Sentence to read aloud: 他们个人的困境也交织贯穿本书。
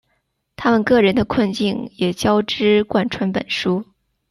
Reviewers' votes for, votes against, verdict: 2, 0, accepted